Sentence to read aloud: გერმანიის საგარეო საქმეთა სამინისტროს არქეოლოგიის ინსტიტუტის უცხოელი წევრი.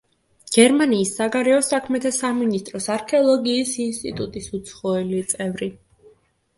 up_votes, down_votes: 2, 0